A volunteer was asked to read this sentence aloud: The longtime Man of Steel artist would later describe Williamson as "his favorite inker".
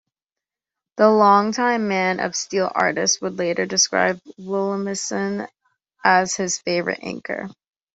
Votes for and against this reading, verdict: 1, 2, rejected